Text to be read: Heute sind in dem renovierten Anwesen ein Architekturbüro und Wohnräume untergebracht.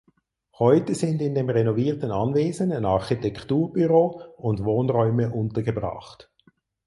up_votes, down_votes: 4, 0